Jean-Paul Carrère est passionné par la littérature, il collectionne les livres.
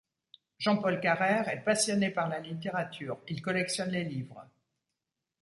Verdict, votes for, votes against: accepted, 2, 0